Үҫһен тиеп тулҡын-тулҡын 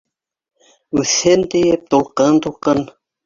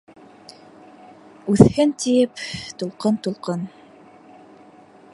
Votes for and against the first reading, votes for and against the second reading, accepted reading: 1, 2, 2, 0, second